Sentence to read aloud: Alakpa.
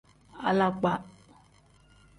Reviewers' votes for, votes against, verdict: 2, 0, accepted